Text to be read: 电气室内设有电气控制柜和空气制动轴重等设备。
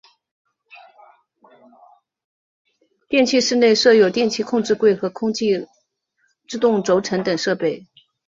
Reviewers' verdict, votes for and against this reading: rejected, 0, 2